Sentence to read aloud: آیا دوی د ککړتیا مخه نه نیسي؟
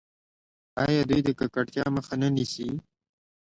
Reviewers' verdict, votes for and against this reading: accepted, 2, 0